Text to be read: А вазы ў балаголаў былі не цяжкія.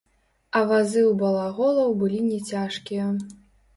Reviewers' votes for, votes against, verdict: 0, 2, rejected